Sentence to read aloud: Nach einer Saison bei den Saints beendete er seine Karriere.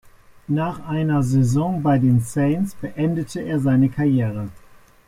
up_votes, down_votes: 4, 0